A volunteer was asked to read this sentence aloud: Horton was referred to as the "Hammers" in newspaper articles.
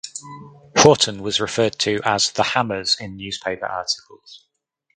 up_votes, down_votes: 2, 2